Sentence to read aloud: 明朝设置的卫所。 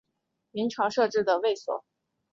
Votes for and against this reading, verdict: 2, 0, accepted